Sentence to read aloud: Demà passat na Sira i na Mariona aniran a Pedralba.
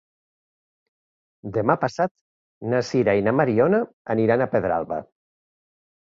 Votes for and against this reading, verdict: 2, 0, accepted